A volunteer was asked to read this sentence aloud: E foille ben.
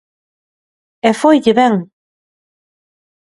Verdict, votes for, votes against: accepted, 2, 0